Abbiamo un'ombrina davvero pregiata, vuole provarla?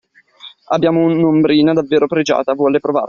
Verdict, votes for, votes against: rejected, 1, 2